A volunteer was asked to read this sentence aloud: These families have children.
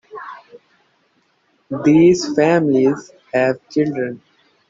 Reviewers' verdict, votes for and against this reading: rejected, 0, 2